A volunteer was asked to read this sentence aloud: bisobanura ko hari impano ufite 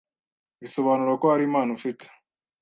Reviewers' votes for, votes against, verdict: 2, 0, accepted